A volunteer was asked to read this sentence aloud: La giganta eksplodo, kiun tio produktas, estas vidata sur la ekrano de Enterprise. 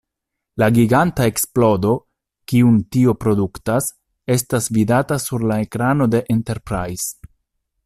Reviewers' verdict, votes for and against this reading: accepted, 2, 0